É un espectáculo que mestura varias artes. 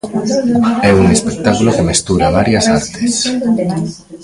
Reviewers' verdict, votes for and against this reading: rejected, 0, 2